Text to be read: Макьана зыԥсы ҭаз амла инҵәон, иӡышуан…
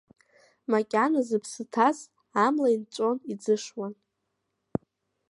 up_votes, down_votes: 2, 0